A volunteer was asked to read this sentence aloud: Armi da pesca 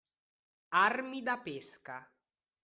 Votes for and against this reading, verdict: 2, 0, accepted